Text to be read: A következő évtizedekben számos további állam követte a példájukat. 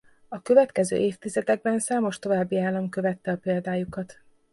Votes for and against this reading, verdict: 2, 0, accepted